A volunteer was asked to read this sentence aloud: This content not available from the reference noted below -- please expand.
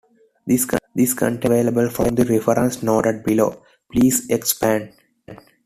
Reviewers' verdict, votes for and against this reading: rejected, 1, 2